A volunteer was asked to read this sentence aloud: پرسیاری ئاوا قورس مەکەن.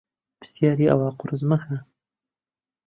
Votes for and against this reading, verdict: 1, 2, rejected